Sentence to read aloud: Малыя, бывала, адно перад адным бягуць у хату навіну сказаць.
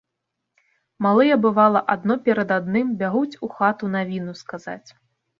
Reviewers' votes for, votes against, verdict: 0, 2, rejected